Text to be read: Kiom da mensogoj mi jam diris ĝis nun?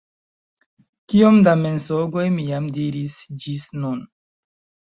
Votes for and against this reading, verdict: 2, 0, accepted